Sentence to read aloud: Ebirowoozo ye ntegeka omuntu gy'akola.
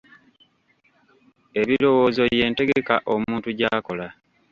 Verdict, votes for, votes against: rejected, 1, 2